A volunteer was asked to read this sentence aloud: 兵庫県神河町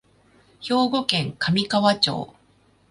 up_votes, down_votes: 2, 0